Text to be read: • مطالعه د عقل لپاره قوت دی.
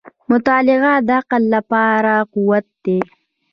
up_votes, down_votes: 0, 2